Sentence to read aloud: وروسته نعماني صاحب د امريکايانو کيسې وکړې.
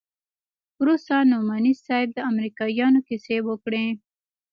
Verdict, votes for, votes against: accepted, 2, 0